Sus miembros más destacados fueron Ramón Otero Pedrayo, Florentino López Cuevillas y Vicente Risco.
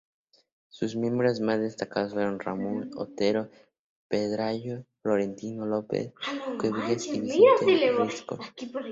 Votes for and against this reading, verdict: 0, 2, rejected